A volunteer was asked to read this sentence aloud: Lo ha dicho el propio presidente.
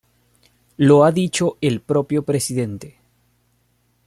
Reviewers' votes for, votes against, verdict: 2, 0, accepted